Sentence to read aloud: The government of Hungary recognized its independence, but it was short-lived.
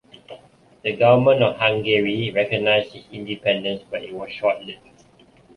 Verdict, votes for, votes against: accepted, 2, 1